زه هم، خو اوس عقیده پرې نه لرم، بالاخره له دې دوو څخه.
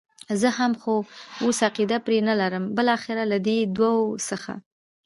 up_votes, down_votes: 0, 2